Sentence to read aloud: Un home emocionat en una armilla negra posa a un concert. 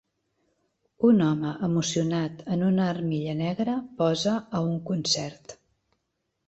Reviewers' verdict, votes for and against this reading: accepted, 3, 0